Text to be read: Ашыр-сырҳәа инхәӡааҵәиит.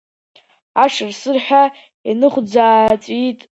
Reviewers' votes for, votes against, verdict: 0, 2, rejected